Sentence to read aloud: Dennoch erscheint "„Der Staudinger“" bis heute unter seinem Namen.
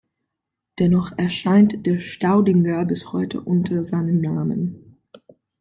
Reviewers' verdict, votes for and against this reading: accepted, 2, 0